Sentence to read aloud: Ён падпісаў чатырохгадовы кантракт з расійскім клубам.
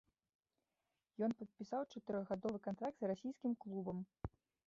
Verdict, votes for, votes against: rejected, 0, 2